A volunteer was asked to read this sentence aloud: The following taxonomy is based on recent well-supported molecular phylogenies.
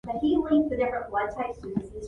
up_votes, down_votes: 0, 2